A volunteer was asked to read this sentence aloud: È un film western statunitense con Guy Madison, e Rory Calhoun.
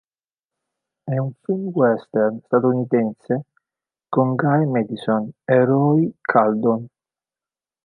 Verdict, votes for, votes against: rejected, 0, 2